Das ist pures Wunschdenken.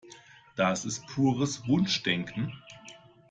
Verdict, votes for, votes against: accepted, 2, 0